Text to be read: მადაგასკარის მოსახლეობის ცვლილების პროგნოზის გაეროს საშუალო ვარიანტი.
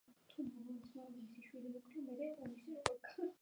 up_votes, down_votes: 0, 2